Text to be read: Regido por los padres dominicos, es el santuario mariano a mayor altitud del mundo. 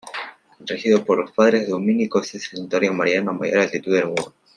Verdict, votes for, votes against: rejected, 1, 2